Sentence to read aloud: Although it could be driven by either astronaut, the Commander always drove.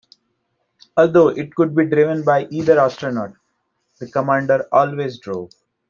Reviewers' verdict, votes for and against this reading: accepted, 2, 0